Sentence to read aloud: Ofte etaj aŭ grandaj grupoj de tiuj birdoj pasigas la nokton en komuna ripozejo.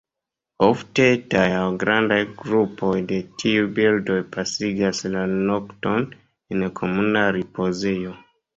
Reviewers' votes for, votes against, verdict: 1, 2, rejected